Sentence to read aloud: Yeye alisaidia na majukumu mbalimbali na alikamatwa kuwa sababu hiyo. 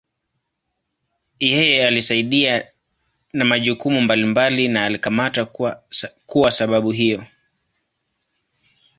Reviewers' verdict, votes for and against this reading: rejected, 0, 2